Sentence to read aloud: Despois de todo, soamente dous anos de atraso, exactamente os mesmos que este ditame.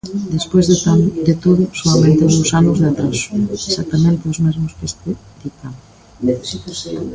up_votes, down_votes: 0, 2